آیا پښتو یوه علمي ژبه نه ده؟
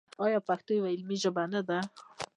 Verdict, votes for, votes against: accepted, 3, 0